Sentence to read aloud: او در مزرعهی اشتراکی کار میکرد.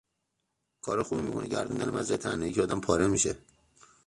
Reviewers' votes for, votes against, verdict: 0, 2, rejected